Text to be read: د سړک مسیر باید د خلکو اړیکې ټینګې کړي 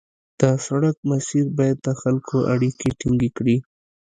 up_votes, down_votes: 2, 0